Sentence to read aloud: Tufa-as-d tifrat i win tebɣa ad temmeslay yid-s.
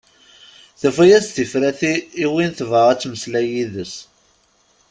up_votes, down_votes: 0, 2